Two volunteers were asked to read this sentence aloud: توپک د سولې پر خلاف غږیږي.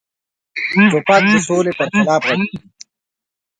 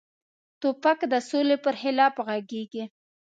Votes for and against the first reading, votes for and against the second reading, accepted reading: 1, 2, 4, 0, second